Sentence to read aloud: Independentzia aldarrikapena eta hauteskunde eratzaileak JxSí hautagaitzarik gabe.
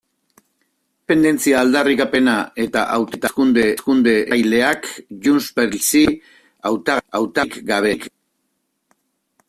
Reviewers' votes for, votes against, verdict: 0, 2, rejected